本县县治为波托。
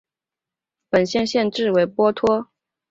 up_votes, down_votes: 2, 0